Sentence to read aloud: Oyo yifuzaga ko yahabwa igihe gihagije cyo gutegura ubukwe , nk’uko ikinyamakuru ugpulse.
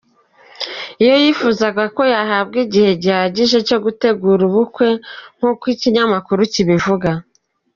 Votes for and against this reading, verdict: 0, 2, rejected